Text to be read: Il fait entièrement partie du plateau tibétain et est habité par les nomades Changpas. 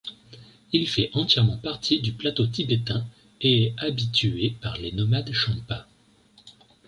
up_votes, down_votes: 0, 2